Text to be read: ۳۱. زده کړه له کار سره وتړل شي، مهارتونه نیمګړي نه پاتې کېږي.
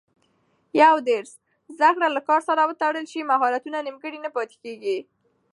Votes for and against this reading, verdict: 0, 2, rejected